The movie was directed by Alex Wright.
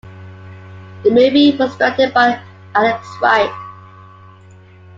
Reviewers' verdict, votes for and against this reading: rejected, 1, 2